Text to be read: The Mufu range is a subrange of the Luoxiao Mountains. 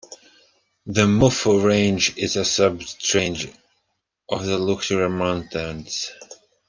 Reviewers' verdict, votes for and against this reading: accepted, 2, 1